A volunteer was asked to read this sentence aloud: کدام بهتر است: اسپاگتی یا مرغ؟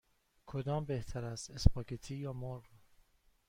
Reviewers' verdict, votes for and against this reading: accepted, 2, 0